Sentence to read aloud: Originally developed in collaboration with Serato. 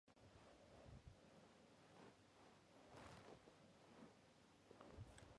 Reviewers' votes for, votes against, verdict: 0, 2, rejected